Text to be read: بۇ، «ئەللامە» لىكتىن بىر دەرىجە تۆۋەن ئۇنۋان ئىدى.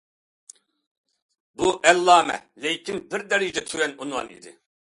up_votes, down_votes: 1, 2